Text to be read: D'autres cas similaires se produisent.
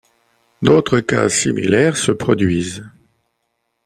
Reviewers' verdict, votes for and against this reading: accepted, 2, 0